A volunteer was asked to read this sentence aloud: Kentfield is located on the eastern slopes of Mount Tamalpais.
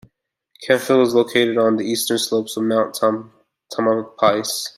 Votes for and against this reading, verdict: 1, 2, rejected